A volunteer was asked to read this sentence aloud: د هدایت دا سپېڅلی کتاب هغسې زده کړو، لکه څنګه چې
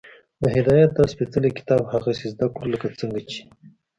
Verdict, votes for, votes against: accepted, 2, 0